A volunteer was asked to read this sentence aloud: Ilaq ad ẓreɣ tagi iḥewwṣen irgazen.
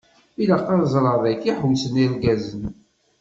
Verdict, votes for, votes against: rejected, 1, 2